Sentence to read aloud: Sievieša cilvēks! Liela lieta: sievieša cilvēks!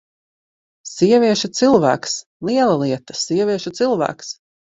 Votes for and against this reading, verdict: 2, 0, accepted